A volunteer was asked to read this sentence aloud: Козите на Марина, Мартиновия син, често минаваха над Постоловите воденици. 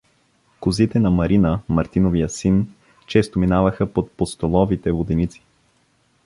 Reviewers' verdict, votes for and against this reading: accepted, 2, 0